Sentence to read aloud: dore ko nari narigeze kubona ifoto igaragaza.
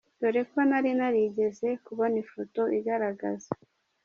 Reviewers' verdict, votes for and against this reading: accepted, 2, 0